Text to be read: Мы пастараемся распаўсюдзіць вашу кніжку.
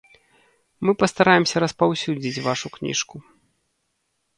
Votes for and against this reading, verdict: 2, 0, accepted